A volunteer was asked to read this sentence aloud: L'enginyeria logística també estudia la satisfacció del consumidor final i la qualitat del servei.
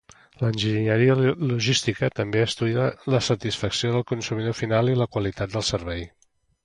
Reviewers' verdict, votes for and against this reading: rejected, 1, 2